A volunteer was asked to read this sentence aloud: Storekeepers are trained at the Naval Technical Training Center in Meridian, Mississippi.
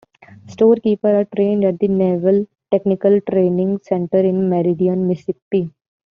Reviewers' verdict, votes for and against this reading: rejected, 0, 2